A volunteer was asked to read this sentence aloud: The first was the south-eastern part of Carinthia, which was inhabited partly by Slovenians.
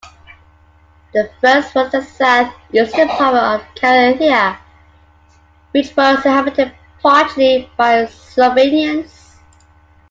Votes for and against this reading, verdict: 2, 1, accepted